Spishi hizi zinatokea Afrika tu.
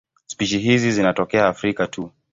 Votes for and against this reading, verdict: 3, 0, accepted